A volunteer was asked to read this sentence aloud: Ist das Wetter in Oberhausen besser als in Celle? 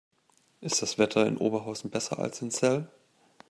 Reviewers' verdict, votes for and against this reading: rejected, 0, 2